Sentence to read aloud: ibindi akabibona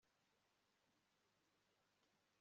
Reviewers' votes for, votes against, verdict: 1, 2, rejected